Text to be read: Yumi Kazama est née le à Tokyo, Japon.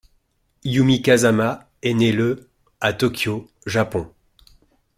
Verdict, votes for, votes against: accepted, 2, 0